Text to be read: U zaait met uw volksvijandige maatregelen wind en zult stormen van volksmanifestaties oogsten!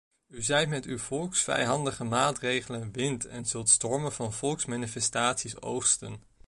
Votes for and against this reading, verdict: 1, 2, rejected